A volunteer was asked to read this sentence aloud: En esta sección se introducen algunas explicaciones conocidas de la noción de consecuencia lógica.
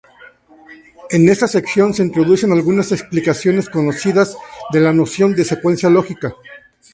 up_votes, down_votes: 0, 2